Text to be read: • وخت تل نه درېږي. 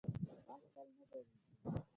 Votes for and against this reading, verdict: 0, 2, rejected